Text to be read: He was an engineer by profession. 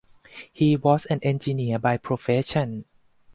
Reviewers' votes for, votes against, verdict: 4, 0, accepted